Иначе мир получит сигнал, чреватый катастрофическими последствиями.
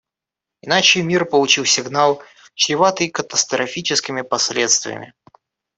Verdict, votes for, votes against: rejected, 1, 2